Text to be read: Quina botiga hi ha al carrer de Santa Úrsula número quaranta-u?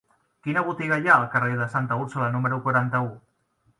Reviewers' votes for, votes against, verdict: 3, 0, accepted